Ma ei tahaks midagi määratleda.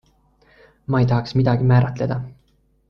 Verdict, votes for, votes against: accepted, 2, 0